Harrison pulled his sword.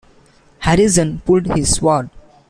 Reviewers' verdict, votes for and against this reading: accepted, 2, 1